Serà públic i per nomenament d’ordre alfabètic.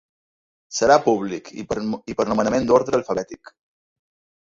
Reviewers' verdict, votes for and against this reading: rejected, 0, 2